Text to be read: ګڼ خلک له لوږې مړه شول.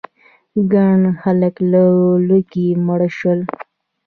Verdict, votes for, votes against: accepted, 2, 0